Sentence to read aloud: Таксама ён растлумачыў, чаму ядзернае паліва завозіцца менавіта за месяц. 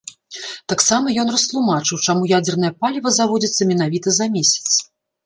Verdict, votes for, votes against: rejected, 0, 2